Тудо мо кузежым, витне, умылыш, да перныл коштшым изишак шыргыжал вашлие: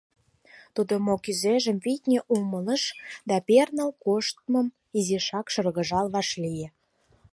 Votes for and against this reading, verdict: 0, 4, rejected